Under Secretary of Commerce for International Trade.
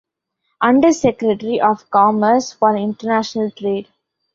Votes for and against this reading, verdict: 0, 2, rejected